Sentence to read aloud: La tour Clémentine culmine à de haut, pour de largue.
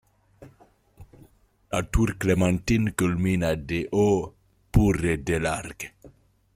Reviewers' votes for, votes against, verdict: 1, 2, rejected